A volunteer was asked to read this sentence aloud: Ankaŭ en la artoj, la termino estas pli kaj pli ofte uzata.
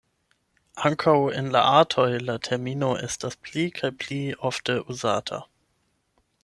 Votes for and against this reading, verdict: 8, 0, accepted